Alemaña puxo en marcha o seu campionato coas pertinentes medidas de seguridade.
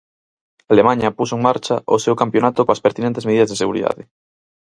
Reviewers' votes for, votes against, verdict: 4, 0, accepted